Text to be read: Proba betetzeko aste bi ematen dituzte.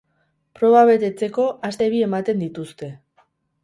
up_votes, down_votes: 2, 2